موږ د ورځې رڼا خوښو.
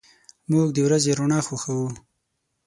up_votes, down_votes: 6, 0